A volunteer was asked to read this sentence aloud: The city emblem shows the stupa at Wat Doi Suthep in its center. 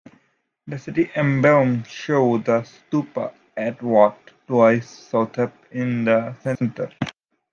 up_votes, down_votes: 1, 2